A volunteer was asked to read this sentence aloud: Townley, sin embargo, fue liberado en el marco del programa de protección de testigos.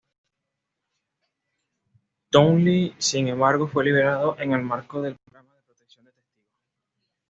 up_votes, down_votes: 1, 2